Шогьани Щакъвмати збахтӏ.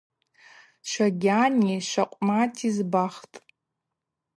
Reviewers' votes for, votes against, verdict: 2, 0, accepted